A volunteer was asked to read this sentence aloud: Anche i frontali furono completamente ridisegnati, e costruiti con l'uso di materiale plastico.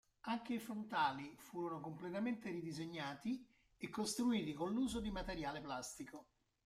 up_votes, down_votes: 2, 1